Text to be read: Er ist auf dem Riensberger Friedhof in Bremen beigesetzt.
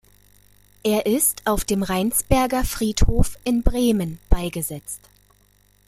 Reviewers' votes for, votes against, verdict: 0, 2, rejected